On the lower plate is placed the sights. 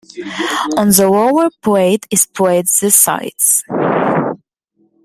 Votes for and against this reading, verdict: 1, 2, rejected